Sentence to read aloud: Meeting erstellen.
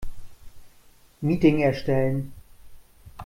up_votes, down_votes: 2, 0